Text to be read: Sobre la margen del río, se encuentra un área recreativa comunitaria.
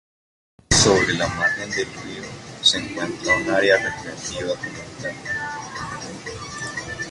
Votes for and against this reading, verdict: 0, 2, rejected